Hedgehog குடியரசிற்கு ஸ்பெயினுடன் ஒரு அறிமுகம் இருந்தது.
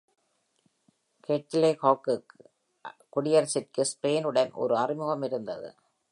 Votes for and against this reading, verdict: 2, 0, accepted